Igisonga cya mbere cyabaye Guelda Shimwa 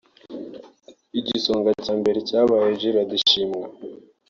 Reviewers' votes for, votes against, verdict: 2, 0, accepted